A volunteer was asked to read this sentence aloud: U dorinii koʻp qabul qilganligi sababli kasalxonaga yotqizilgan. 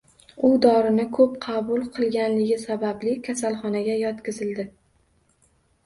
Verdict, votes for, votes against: rejected, 1, 2